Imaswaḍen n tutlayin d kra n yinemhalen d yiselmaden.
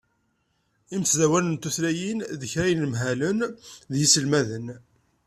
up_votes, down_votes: 0, 2